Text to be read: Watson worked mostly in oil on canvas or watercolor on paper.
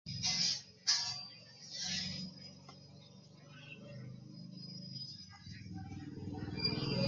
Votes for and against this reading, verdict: 1, 2, rejected